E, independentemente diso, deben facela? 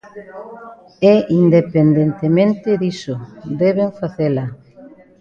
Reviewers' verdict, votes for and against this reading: rejected, 0, 2